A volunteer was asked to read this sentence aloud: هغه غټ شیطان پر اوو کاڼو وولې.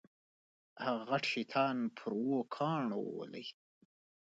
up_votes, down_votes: 2, 1